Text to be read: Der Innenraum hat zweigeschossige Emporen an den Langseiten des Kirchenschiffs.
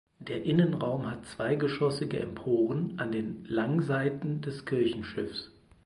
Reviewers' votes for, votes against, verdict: 4, 0, accepted